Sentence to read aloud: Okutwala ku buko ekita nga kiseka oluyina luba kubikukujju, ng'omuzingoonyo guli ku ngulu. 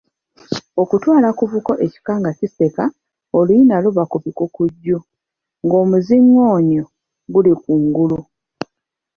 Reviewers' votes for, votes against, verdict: 0, 2, rejected